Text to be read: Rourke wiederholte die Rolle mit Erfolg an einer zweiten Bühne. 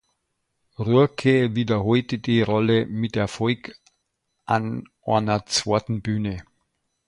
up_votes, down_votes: 0, 2